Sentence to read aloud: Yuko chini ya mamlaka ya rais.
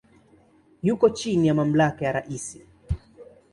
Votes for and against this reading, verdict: 2, 1, accepted